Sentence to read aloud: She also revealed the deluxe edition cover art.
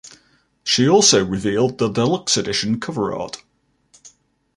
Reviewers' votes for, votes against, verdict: 2, 0, accepted